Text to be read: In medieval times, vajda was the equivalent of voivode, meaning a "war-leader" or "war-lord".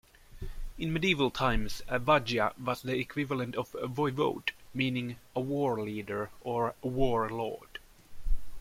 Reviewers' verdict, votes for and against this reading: accepted, 2, 1